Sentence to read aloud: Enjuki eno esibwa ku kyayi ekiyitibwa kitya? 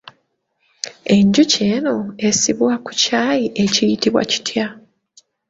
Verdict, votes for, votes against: rejected, 0, 2